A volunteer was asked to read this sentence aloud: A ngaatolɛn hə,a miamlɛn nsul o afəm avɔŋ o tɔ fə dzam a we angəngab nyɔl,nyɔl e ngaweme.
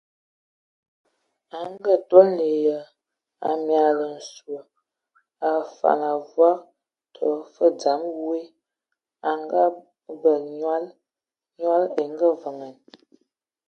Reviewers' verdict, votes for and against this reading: rejected, 0, 2